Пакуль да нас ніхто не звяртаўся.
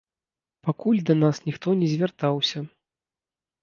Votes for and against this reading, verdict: 2, 0, accepted